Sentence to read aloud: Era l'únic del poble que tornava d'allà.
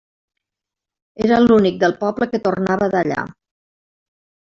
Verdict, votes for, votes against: accepted, 3, 0